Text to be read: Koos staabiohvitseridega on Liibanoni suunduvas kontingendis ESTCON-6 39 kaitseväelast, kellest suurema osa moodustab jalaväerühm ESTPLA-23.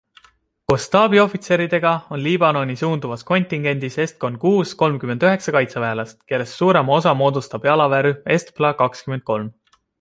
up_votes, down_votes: 0, 2